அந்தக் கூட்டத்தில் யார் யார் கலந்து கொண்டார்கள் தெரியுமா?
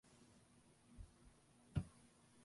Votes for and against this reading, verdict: 0, 2, rejected